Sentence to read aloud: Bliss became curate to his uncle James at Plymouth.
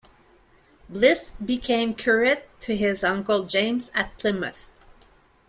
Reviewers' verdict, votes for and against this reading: accepted, 2, 0